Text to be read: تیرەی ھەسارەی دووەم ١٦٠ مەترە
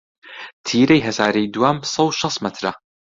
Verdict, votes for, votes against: rejected, 0, 2